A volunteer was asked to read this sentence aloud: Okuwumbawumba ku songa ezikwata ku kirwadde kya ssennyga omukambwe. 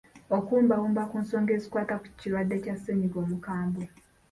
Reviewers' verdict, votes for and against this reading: accepted, 2, 1